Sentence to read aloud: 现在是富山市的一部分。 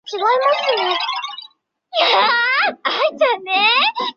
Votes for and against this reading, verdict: 0, 3, rejected